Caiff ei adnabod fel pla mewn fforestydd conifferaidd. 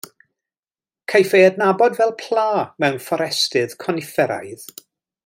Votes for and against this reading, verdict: 2, 0, accepted